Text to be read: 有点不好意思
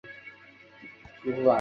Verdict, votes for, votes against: rejected, 1, 4